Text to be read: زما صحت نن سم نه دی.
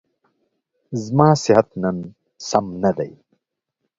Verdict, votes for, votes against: accepted, 2, 0